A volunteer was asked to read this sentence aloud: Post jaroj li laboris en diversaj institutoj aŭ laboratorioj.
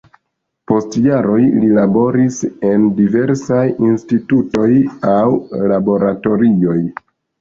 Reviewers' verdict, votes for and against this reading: rejected, 1, 2